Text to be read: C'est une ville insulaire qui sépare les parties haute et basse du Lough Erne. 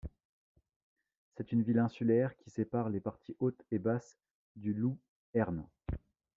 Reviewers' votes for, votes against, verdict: 1, 2, rejected